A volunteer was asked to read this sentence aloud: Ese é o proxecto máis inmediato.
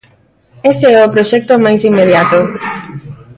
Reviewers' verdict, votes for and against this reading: rejected, 0, 2